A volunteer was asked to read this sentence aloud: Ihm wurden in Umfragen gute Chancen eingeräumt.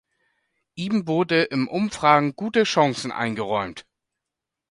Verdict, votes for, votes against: rejected, 1, 2